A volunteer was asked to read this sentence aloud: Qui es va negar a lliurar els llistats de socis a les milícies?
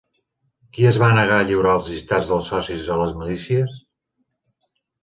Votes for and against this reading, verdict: 0, 2, rejected